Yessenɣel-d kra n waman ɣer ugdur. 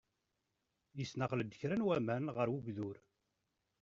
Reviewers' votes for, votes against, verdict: 1, 2, rejected